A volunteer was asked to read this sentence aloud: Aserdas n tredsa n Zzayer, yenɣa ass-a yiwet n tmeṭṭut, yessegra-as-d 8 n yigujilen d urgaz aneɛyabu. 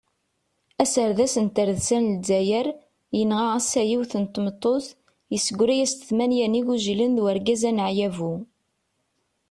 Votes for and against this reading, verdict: 0, 2, rejected